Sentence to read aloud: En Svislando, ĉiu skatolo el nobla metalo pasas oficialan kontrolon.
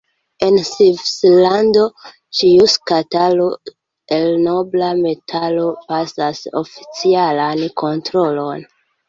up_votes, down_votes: 1, 2